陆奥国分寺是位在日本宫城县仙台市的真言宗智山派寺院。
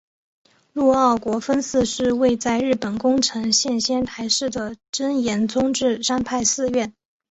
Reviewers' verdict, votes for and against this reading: accepted, 4, 0